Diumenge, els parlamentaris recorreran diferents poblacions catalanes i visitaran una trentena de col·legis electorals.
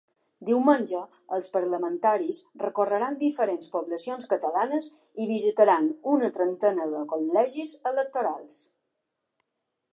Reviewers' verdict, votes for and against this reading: accepted, 2, 0